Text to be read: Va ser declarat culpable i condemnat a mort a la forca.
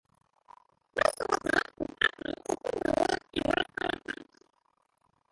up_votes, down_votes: 0, 2